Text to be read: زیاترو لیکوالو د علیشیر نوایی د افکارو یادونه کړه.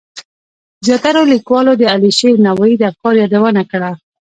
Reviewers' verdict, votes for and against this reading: rejected, 0, 2